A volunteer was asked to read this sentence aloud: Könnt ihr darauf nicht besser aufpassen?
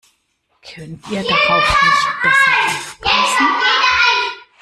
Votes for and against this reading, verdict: 1, 2, rejected